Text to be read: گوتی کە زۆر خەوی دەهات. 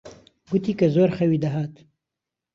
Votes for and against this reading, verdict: 2, 0, accepted